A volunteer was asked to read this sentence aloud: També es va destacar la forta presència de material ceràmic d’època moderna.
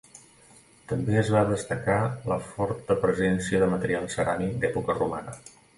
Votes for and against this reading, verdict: 0, 2, rejected